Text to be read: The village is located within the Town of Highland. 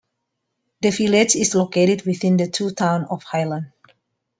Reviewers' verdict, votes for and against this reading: rejected, 0, 2